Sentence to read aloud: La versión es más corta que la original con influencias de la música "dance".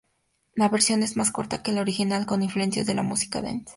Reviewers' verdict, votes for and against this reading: accepted, 2, 0